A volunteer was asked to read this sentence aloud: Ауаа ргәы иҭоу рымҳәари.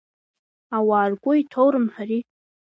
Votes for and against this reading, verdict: 2, 0, accepted